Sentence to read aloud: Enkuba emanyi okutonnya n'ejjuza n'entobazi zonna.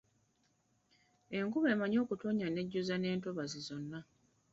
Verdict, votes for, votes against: accepted, 2, 1